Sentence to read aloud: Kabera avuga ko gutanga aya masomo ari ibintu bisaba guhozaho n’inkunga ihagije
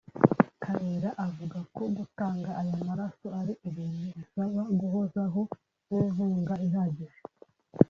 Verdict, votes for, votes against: rejected, 1, 2